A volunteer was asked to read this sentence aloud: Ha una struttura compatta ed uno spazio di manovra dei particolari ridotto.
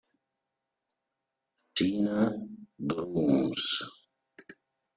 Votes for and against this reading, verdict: 0, 2, rejected